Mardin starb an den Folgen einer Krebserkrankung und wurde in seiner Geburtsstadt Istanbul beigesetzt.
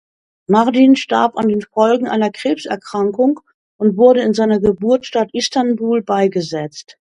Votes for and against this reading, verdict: 2, 0, accepted